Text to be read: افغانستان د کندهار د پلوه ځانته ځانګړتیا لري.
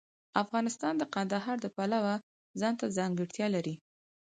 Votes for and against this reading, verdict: 4, 2, accepted